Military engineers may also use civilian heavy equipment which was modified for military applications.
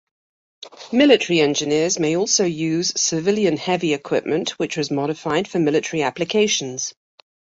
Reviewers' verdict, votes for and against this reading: accepted, 2, 0